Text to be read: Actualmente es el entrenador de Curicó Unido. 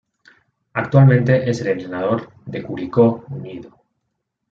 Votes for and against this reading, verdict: 0, 2, rejected